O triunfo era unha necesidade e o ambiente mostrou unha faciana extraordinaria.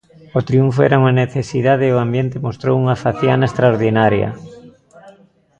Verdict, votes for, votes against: rejected, 1, 2